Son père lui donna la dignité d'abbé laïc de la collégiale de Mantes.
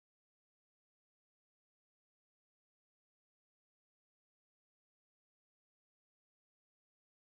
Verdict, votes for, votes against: rejected, 0, 2